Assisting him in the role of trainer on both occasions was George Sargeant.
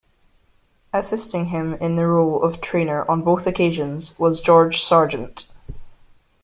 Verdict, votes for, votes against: accepted, 2, 0